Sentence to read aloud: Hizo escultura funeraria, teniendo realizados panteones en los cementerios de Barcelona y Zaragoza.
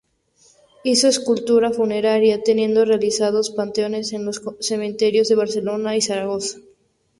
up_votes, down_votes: 2, 2